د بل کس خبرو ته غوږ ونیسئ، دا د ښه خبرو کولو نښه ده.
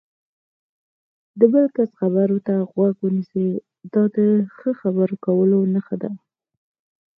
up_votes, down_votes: 4, 0